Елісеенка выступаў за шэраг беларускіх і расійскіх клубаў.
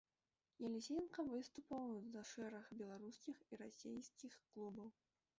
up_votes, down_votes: 0, 2